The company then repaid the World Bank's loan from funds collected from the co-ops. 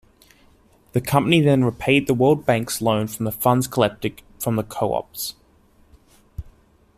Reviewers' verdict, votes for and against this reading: rejected, 1, 2